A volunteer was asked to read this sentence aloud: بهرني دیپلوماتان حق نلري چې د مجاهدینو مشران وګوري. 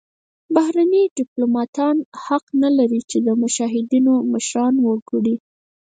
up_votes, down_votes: 0, 4